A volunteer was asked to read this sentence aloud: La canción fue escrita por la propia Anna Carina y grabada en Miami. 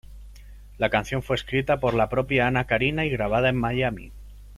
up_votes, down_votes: 2, 0